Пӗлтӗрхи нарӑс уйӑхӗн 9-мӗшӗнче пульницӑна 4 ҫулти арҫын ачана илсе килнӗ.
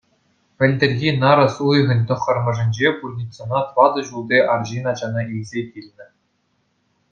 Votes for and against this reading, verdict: 0, 2, rejected